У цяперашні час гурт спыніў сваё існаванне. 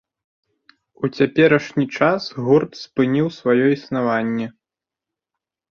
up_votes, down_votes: 2, 0